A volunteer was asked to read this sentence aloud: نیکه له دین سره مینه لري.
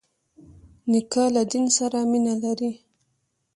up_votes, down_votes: 0, 2